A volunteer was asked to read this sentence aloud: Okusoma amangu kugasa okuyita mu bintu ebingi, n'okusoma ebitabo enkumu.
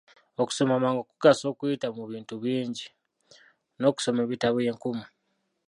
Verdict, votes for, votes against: rejected, 0, 2